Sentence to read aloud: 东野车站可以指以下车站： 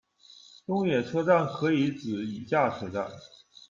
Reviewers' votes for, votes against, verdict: 2, 0, accepted